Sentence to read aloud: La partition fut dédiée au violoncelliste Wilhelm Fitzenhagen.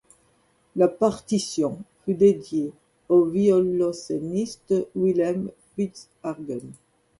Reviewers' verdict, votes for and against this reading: rejected, 1, 2